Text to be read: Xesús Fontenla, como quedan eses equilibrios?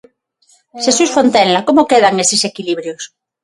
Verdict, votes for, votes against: rejected, 3, 6